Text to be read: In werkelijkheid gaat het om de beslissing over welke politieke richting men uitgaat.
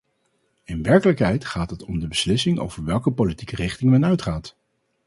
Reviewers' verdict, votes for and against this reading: rejected, 2, 2